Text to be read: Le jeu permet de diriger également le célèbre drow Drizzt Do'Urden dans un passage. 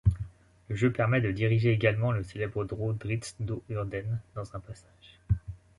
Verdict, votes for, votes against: accepted, 2, 0